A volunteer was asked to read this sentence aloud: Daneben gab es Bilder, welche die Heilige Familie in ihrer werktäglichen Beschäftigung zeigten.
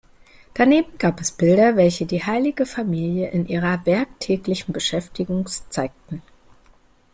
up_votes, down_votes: 0, 2